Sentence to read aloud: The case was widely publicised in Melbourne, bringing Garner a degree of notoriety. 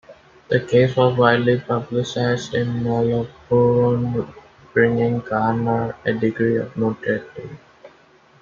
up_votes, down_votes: 1, 2